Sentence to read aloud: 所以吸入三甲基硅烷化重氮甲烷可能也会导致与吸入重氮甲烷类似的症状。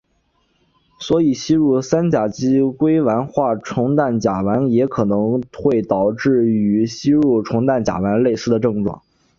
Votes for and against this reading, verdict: 4, 3, accepted